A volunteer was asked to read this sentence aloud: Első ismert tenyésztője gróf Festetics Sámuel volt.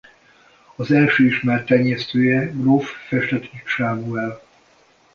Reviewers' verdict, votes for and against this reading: rejected, 0, 2